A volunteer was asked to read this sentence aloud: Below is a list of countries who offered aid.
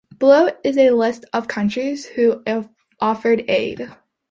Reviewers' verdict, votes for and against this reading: rejected, 1, 2